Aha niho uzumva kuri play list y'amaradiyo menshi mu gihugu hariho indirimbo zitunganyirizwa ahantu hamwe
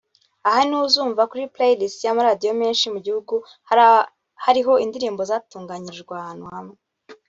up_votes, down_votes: 1, 2